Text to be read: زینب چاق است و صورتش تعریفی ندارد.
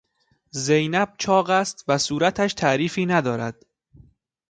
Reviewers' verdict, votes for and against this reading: accepted, 2, 0